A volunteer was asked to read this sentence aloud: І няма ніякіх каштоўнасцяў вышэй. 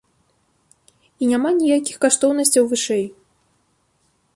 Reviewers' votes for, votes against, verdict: 2, 0, accepted